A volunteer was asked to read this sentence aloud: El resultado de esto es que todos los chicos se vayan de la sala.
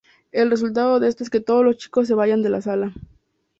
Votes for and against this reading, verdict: 2, 0, accepted